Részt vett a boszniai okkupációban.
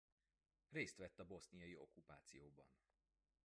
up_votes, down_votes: 2, 3